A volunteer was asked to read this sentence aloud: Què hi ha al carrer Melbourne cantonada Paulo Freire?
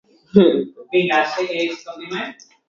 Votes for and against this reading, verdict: 1, 2, rejected